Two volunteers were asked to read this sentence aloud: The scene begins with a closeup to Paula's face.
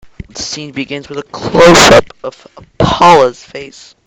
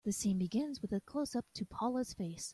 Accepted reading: second